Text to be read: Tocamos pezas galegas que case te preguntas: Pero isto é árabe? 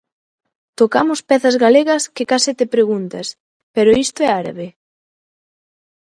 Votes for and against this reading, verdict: 2, 0, accepted